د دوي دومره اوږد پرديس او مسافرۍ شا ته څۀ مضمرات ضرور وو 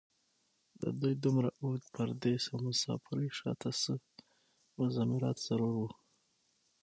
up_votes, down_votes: 3, 6